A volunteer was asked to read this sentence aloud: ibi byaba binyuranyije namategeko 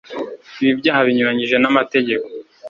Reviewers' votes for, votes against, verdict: 1, 2, rejected